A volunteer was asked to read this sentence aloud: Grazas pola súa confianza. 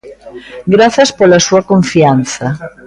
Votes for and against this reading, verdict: 2, 0, accepted